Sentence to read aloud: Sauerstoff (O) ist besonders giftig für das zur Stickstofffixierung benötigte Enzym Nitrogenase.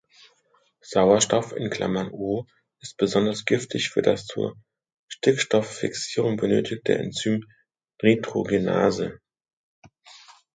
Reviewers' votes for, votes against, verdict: 1, 2, rejected